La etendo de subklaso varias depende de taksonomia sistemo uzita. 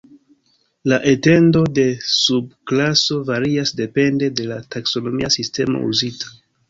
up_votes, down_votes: 2, 0